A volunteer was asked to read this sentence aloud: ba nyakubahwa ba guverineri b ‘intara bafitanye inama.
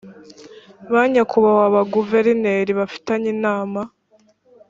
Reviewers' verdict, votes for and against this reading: rejected, 2, 3